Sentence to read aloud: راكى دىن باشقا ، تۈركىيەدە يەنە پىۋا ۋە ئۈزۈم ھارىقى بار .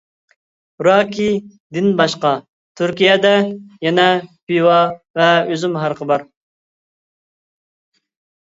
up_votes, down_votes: 2, 0